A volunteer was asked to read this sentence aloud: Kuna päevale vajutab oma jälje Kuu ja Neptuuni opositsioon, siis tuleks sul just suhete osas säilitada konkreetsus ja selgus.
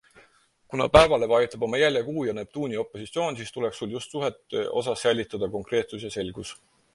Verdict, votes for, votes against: accepted, 4, 0